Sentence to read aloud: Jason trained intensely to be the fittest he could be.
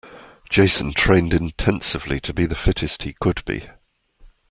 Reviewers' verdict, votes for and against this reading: accepted, 2, 1